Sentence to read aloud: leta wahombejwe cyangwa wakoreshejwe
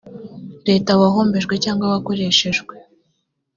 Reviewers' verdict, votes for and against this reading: accepted, 2, 0